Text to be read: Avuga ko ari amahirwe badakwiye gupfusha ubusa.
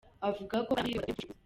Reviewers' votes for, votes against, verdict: 0, 2, rejected